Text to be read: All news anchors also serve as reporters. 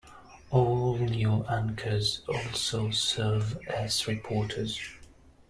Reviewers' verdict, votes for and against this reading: rejected, 1, 2